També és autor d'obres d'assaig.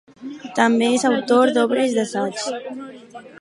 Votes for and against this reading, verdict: 4, 0, accepted